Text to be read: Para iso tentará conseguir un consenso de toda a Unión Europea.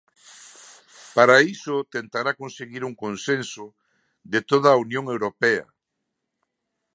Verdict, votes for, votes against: accepted, 2, 0